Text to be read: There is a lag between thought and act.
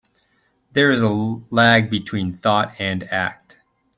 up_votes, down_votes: 2, 0